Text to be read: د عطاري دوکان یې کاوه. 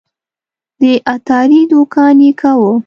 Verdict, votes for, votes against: accepted, 3, 0